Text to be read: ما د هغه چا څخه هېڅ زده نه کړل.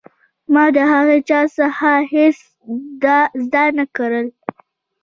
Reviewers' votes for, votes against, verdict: 0, 2, rejected